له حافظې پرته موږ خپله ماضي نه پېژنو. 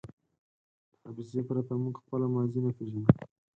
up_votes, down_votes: 2, 4